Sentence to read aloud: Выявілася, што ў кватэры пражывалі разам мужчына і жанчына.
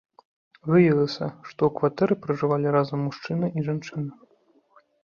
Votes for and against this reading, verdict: 2, 0, accepted